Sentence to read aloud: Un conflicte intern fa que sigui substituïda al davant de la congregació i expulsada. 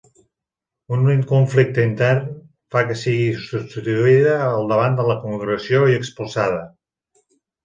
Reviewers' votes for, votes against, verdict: 1, 2, rejected